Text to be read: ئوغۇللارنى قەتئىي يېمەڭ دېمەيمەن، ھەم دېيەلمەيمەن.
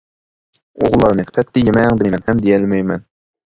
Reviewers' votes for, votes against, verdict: 0, 2, rejected